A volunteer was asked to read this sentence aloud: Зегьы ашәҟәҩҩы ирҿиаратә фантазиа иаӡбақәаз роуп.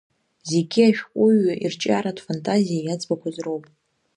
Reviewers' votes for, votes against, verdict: 2, 0, accepted